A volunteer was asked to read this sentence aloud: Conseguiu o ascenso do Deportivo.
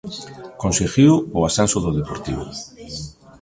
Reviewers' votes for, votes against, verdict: 2, 0, accepted